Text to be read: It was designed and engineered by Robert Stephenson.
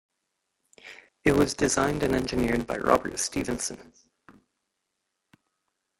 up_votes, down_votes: 1, 2